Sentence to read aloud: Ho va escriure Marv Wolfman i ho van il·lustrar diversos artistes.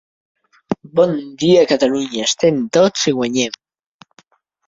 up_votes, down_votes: 0, 2